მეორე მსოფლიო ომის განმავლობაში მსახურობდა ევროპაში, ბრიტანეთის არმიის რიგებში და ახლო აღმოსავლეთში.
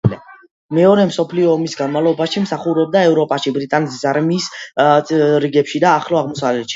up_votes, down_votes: 2, 0